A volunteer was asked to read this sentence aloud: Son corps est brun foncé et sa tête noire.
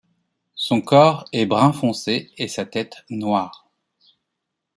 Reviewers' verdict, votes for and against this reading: accepted, 2, 0